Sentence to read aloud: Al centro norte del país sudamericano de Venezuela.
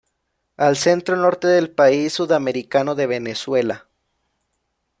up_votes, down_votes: 2, 0